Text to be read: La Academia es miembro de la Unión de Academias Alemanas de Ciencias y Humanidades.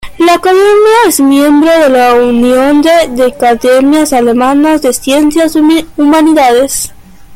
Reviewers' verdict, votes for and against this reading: rejected, 1, 2